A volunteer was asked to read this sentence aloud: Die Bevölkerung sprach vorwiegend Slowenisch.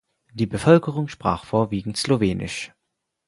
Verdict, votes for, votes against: accepted, 4, 0